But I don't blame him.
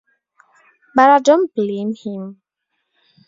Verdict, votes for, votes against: accepted, 2, 0